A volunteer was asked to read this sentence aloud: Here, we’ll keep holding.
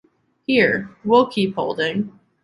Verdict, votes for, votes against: accepted, 2, 0